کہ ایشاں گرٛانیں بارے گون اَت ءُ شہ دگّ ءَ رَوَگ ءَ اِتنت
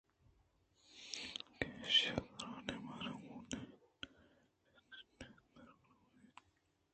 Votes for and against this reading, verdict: 2, 1, accepted